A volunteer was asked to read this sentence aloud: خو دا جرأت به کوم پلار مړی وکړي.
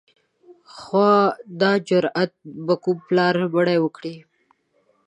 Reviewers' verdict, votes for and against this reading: rejected, 1, 2